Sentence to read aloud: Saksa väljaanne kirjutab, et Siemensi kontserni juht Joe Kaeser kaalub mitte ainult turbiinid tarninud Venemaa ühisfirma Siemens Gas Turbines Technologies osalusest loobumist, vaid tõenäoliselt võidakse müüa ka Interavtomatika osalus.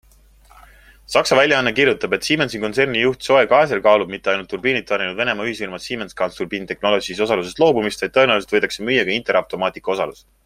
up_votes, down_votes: 2, 0